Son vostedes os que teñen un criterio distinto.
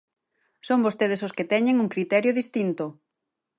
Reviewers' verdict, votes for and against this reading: rejected, 0, 4